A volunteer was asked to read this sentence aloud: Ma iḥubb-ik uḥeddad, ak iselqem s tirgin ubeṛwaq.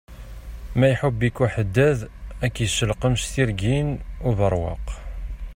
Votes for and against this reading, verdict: 2, 1, accepted